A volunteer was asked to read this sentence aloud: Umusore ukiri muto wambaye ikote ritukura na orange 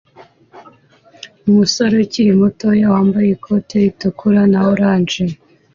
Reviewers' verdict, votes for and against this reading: accepted, 2, 0